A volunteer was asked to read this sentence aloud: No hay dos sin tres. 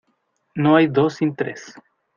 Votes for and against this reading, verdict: 2, 0, accepted